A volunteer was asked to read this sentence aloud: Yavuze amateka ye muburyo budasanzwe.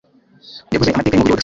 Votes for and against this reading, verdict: 0, 2, rejected